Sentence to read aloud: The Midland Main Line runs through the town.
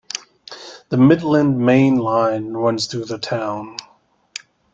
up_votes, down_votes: 2, 0